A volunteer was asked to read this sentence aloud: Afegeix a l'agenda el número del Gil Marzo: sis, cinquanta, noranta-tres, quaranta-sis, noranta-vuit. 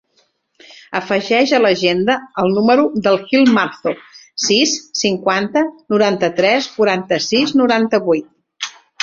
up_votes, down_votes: 3, 1